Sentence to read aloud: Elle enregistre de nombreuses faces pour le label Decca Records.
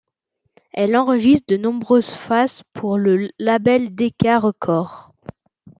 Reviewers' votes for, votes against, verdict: 1, 2, rejected